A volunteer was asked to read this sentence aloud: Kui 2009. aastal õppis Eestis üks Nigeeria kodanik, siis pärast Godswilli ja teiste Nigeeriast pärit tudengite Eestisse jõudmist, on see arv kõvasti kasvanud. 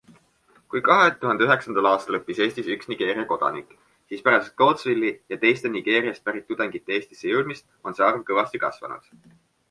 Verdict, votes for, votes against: rejected, 0, 2